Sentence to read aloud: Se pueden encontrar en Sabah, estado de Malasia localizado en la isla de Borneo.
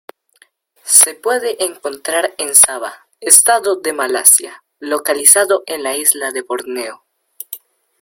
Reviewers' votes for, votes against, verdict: 2, 0, accepted